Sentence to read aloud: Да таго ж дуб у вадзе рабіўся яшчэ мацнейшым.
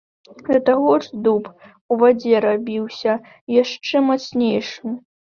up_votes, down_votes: 2, 0